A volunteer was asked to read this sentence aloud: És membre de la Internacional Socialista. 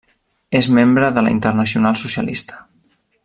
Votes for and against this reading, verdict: 3, 0, accepted